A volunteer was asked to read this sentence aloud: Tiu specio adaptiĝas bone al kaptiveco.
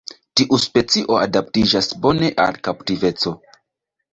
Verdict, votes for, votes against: rejected, 1, 2